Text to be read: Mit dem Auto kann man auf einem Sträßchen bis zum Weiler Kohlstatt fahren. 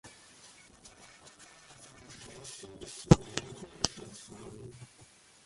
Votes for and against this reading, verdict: 0, 2, rejected